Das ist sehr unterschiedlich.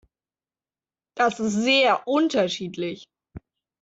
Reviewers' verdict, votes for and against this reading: accepted, 2, 0